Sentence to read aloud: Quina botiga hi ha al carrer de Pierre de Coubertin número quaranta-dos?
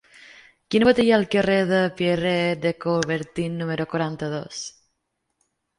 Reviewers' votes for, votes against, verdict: 0, 2, rejected